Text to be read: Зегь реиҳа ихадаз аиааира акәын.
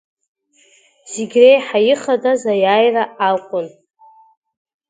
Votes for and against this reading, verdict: 1, 2, rejected